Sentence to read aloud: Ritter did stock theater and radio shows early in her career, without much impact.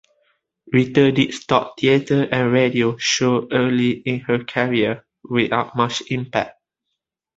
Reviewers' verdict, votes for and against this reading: rejected, 1, 2